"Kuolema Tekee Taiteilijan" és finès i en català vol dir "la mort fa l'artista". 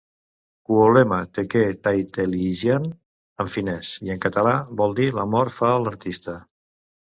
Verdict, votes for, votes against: rejected, 1, 2